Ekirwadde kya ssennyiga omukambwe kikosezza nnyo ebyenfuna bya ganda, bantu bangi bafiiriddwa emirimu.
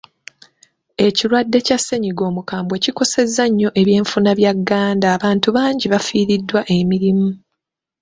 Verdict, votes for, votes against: rejected, 0, 2